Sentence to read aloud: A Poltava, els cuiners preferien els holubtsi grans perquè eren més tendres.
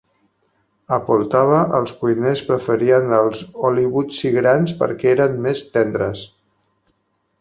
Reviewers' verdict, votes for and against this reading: rejected, 0, 4